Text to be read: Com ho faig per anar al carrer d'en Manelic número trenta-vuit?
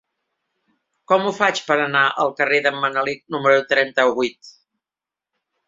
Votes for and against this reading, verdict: 2, 0, accepted